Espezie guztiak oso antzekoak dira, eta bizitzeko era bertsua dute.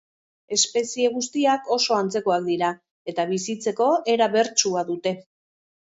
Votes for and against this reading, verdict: 2, 0, accepted